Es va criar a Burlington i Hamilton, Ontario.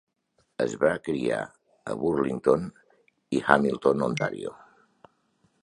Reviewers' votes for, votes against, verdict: 1, 2, rejected